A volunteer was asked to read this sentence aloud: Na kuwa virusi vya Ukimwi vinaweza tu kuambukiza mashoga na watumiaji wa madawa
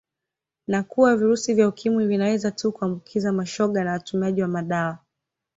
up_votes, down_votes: 2, 0